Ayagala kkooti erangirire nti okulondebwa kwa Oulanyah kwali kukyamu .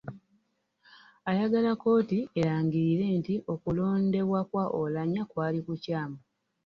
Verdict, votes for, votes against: rejected, 1, 2